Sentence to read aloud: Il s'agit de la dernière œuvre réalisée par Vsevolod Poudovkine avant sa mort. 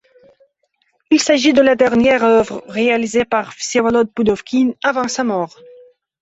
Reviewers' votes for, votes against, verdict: 2, 0, accepted